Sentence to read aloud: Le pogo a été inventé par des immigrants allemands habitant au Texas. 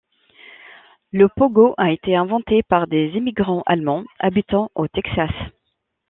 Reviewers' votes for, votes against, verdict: 2, 0, accepted